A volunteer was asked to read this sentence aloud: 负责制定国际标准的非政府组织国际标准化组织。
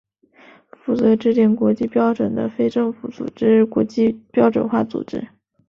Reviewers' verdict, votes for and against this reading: accepted, 2, 0